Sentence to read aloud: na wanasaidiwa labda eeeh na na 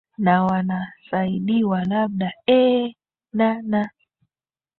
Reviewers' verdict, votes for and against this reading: accepted, 3, 0